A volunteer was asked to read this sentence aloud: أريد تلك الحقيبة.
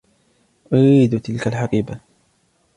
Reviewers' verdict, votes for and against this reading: accepted, 2, 0